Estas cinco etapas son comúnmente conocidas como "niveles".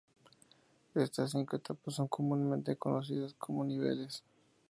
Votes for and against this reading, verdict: 2, 0, accepted